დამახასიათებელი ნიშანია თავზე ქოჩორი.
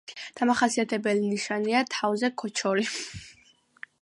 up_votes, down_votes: 2, 0